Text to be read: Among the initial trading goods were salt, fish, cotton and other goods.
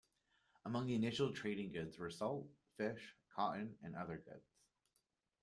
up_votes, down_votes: 2, 0